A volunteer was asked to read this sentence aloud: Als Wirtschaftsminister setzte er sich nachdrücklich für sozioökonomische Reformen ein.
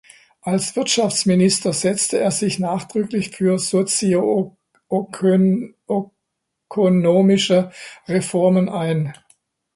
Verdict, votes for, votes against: rejected, 0, 2